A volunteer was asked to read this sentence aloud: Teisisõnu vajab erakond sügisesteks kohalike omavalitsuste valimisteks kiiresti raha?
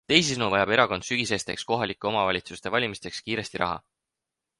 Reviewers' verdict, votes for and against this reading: accepted, 4, 0